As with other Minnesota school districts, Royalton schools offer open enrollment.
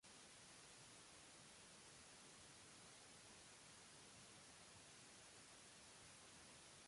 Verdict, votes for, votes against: rejected, 0, 2